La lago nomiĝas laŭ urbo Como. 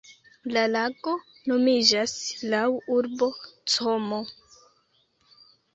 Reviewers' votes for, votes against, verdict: 2, 1, accepted